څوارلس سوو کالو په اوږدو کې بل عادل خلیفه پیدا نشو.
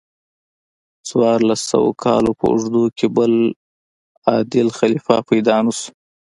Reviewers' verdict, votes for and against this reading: accepted, 2, 1